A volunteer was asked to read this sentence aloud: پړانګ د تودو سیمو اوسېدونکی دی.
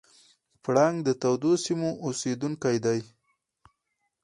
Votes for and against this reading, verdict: 2, 2, rejected